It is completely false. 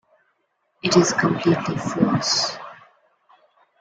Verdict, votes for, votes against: accepted, 2, 0